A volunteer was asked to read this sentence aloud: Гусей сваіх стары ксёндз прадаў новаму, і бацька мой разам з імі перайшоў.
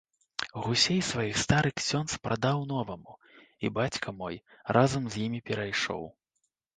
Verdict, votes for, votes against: accepted, 2, 1